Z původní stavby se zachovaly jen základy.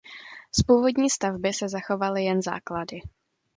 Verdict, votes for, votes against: accepted, 2, 0